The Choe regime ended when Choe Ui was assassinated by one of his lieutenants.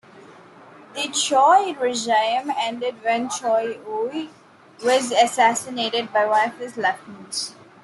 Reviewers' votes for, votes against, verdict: 1, 2, rejected